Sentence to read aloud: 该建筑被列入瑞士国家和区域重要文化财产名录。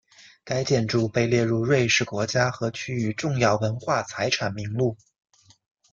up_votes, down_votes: 2, 0